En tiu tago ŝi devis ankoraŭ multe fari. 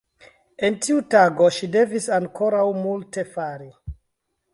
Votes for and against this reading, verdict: 2, 0, accepted